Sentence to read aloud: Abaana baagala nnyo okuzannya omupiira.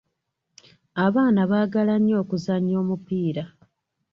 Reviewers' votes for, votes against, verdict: 2, 0, accepted